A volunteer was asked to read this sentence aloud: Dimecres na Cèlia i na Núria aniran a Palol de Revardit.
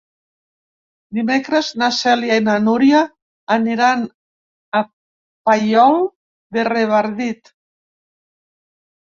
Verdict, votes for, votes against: rejected, 0, 3